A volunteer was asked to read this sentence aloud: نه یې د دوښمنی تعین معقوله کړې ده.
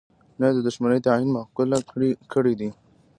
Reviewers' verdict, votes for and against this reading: accepted, 2, 1